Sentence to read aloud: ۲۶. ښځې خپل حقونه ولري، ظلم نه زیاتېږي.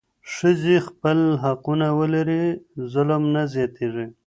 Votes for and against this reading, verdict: 0, 2, rejected